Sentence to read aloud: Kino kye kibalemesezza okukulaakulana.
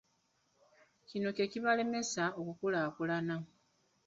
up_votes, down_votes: 2, 0